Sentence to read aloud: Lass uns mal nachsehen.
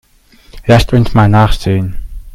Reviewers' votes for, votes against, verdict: 0, 2, rejected